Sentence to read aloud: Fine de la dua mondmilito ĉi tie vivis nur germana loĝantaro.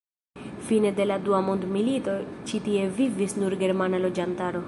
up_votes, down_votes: 0, 2